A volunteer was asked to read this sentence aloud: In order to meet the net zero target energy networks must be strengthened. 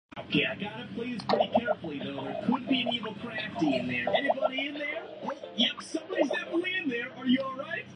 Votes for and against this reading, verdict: 0, 2, rejected